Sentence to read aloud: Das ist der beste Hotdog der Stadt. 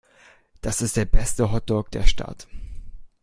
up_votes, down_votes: 2, 0